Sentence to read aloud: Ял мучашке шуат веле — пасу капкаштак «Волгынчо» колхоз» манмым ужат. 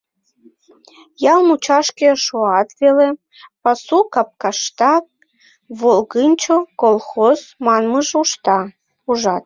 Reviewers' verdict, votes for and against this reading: rejected, 0, 2